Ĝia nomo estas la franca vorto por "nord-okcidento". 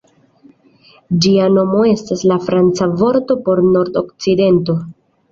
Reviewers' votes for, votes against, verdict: 2, 0, accepted